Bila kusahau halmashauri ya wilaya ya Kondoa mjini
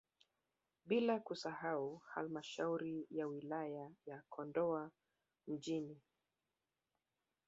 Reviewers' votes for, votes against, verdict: 0, 2, rejected